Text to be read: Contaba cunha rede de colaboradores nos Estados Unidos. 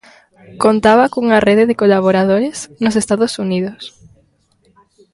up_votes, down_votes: 2, 0